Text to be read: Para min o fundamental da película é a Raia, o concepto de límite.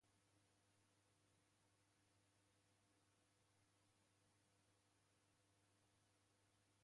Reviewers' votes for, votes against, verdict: 0, 2, rejected